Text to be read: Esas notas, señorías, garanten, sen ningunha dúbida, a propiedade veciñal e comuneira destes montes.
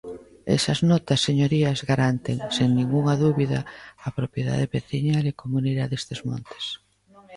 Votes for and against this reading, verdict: 0, 2, rejected